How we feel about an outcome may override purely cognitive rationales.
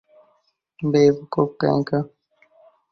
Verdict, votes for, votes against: rejected, 0, 4